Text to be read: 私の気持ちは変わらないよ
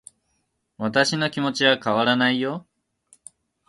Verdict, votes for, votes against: accepted, 2, 0